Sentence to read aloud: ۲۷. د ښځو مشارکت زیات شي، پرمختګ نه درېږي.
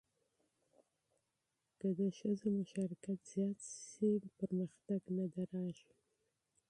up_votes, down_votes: 0, 2